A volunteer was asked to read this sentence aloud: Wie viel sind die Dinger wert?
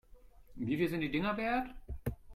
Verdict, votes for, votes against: accepted, 2, 0